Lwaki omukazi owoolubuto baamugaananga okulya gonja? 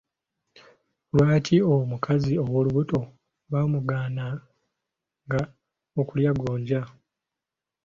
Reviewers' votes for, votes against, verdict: 0, 2, rejected